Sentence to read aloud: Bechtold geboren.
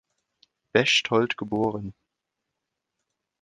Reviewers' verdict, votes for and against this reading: accepted, 2, 0